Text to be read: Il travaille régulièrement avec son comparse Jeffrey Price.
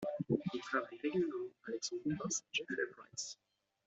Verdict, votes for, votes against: rejected, 0, 2